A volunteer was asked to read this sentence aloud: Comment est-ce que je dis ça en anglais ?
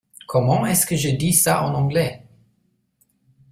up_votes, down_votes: 2, 1